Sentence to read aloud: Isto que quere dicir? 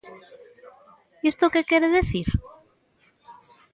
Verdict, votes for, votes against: rejected, 1, 2